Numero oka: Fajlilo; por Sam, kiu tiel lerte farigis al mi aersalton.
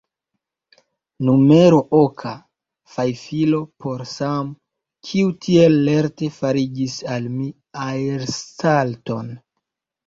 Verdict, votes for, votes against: rejected, 1, 2